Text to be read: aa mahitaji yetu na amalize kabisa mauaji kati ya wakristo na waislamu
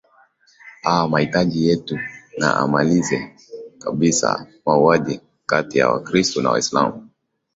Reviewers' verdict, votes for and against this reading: accepted, 19, 0